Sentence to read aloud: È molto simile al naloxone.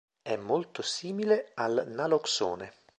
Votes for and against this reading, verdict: 2, 0, accepted